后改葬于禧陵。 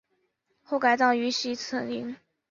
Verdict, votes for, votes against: rejected, 1, 2